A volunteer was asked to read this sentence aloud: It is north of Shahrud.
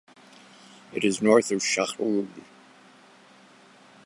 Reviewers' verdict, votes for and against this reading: accepted, 2, 0